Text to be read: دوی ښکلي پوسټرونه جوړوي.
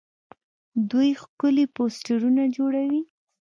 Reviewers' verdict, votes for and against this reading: rejected, 0, 2